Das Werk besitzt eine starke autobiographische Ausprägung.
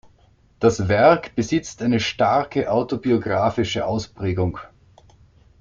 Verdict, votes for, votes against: accepted, 2, 0